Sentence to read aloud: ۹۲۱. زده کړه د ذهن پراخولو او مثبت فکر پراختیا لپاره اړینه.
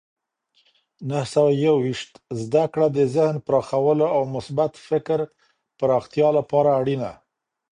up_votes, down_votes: 0, 2